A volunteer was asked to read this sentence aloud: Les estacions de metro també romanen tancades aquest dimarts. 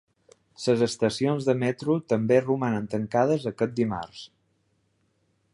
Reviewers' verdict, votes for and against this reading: rejected, 1, 2